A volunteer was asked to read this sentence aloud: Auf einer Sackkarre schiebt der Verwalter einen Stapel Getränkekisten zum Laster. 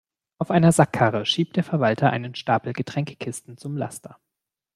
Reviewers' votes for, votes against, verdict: 2, 0, accepted